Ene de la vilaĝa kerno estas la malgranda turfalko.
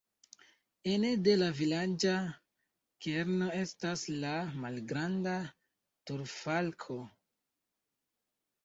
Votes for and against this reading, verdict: 1, 2, rejected